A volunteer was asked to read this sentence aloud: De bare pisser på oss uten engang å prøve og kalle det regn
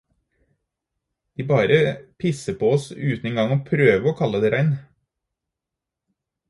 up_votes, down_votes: 2, 2